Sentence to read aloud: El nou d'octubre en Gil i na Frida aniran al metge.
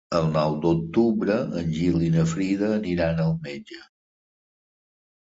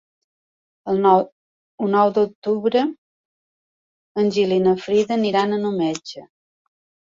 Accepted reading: first